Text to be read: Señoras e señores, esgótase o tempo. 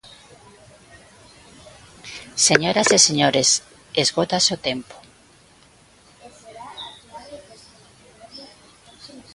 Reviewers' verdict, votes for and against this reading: rejected, 0, 2